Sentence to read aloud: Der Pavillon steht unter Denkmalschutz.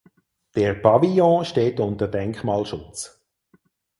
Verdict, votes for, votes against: accepted, 4, 0